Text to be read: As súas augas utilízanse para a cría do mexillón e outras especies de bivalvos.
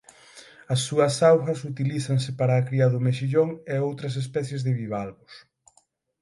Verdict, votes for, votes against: accepted, 6, 0